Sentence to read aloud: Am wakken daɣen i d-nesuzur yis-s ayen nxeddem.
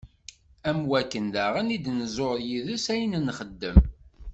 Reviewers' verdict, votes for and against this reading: rejected, 0, 2